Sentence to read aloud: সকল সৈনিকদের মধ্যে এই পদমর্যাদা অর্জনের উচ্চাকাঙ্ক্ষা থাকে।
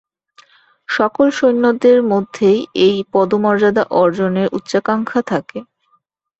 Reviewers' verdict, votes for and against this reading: rejected, 0, 2